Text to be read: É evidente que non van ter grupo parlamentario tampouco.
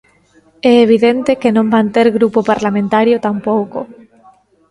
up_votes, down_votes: 2, 0